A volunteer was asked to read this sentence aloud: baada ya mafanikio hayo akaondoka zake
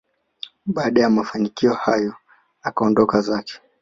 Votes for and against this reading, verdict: 2, 0, accepted